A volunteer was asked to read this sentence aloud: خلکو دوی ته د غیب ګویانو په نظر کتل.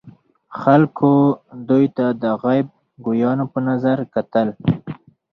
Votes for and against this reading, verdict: 4, 2, accepted